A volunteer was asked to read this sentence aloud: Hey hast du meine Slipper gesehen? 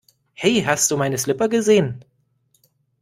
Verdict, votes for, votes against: accepted, 2, 0